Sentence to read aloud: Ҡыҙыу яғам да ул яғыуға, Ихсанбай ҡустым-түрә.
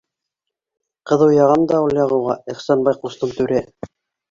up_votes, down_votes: 2, 1